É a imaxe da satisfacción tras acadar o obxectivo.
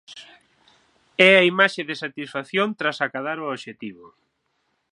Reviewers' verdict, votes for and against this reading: rejected, 0, 6